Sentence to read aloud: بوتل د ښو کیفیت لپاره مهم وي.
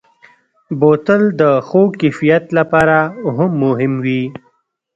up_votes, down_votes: 0, 2